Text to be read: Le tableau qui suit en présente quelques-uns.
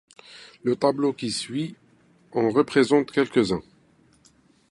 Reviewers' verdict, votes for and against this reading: rejected, 0, 2